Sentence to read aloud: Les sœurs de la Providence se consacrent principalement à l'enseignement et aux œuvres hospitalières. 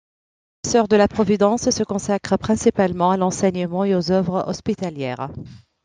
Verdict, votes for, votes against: accepted, 2, 1